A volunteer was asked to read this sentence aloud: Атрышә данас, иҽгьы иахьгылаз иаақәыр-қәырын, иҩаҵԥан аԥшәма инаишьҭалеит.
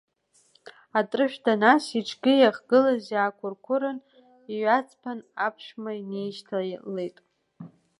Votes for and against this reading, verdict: 2, 0, accepted